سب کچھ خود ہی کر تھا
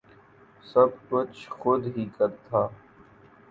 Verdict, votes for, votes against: accepted, 2, 0